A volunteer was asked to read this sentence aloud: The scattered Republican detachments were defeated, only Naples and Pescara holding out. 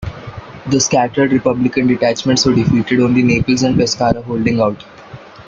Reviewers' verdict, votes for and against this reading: rejected, 0, 2